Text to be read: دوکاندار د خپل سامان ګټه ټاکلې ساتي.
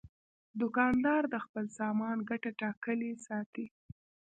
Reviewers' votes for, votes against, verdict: 1, 2, rejected